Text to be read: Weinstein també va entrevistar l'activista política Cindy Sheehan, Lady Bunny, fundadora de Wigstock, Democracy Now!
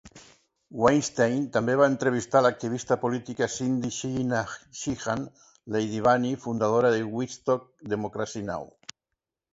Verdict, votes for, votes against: accepted, 2, 1